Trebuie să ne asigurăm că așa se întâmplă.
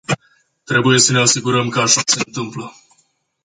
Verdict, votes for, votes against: rejected, 0, 2